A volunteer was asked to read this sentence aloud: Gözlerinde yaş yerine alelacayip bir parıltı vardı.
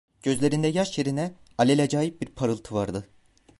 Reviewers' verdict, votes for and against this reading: accepted, 2, 0